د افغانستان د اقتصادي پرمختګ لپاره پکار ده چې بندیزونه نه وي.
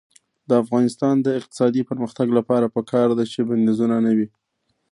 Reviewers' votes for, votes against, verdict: 0, 2, rejected